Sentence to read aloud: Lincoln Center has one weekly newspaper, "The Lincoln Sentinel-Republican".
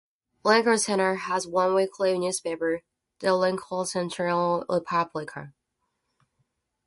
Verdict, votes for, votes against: rejected, 0, 2